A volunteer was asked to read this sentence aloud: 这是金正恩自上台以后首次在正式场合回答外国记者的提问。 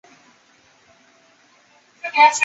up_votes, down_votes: 0, 2